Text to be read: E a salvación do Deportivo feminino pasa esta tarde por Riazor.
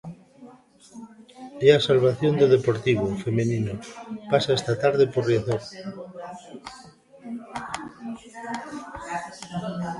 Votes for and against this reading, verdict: 0, 2, rejected